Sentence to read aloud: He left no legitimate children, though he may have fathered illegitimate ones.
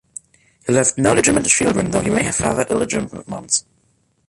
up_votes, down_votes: 1, 2